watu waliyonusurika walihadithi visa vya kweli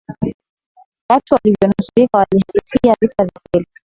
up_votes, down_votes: 0, 2